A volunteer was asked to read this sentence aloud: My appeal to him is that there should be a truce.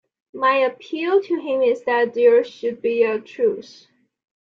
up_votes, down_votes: 2, 0